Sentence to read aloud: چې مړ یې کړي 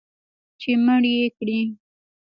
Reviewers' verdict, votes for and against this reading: rejected, 0, 2